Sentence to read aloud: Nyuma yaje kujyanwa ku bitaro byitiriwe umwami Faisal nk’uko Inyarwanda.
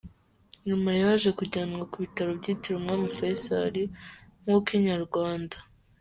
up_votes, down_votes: 2, 1